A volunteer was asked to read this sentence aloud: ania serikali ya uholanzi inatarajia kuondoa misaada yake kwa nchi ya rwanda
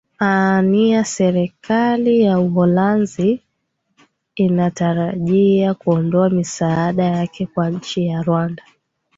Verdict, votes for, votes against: rejected, 0, 2